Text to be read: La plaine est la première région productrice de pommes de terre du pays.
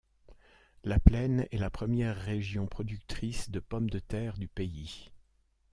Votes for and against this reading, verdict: 2, 0, accepted